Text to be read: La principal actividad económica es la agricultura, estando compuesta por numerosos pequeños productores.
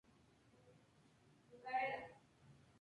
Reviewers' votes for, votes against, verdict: 0, 2, rejected